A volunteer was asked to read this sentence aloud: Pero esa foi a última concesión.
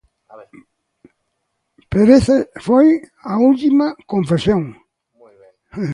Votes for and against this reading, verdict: 0, 2, rejected